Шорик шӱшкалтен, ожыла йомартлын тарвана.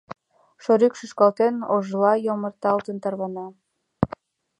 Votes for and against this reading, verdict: 0, 2, rejected